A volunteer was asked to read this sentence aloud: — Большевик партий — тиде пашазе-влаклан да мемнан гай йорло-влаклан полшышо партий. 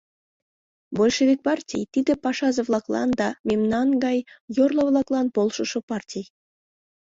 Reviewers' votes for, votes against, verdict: 2, 0, accepted